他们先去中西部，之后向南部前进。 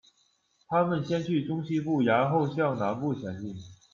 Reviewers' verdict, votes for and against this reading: rejected, 1, 2